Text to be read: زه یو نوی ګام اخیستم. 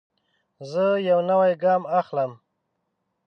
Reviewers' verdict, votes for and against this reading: rejected, 0, 3